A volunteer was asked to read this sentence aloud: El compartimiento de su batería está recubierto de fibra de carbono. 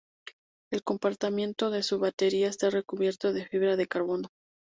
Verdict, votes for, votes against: rejected, 0, 2